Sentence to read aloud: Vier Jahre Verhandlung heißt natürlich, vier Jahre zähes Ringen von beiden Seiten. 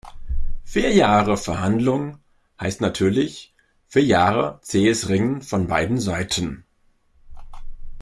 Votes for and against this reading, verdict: 2, 0, accepted